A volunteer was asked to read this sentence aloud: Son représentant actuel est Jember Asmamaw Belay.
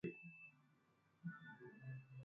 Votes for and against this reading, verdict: 0, 2, rejected